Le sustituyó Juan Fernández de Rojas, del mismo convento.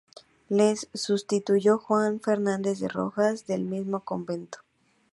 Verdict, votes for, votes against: rejected, 2, 2